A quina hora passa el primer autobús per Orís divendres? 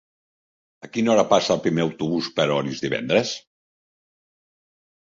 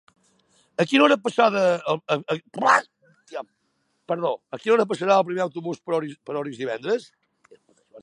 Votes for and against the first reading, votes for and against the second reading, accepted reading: 2, 1, 1, 2, first